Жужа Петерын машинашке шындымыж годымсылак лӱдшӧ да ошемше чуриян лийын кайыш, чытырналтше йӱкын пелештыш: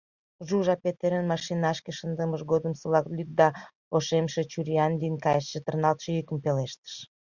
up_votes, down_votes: 1, 2